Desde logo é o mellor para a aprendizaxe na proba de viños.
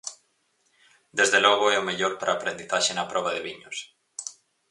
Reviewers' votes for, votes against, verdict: 4, 0, accepted